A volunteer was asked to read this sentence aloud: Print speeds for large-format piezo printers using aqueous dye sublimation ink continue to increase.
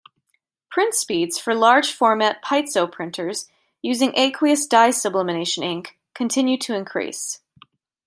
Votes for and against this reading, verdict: 2, 0, accepted